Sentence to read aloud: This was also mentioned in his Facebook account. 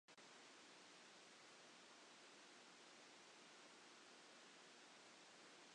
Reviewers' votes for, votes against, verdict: 0, 2, rejected